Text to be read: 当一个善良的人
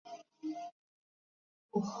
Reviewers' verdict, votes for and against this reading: rejected, 0, 3